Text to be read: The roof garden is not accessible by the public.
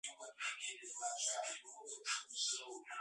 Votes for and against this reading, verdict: 0, 2, rejected